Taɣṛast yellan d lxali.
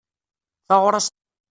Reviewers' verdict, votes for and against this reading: rejected, 0, 2